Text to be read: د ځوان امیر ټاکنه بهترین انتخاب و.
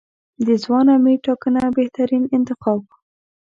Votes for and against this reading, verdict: 1, 2, rejected